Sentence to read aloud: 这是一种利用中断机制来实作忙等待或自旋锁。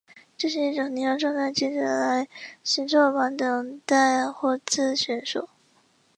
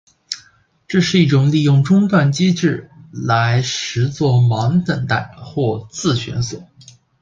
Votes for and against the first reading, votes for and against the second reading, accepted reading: 2, 4, 2, 0, second